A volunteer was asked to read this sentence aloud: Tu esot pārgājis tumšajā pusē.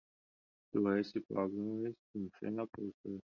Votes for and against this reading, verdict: 0, 10, rejected